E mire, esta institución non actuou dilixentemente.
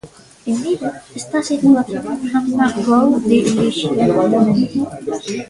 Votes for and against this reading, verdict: 0, 2, rejected